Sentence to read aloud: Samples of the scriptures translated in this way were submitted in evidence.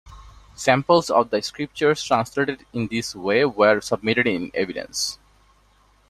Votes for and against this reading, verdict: 2, 0, accepted